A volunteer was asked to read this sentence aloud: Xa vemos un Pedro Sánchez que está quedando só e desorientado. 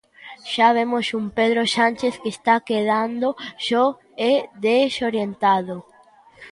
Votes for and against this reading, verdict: 1, 2, rejected